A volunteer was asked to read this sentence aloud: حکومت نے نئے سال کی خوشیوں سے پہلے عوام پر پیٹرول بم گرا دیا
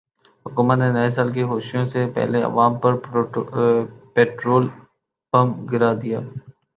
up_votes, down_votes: 1, 2